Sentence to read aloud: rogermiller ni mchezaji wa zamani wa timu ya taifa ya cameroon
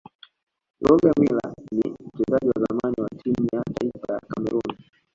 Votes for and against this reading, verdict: 2, 1, accepted